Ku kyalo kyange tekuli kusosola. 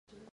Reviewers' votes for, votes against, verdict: 0, 2, rejected